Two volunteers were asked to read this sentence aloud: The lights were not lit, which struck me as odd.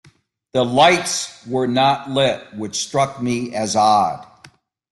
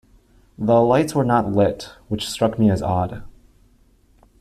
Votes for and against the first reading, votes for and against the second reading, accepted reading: 0, 2, 2, 1, second